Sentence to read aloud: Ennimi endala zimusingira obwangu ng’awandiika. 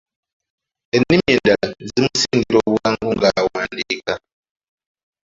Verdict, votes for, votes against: accepted, 2, 1